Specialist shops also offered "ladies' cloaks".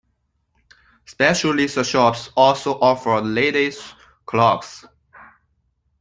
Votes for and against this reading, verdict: 1, 2, rejected